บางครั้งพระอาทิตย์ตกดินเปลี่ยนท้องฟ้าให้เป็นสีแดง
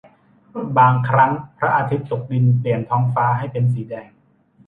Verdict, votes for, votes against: accepted, 2, 0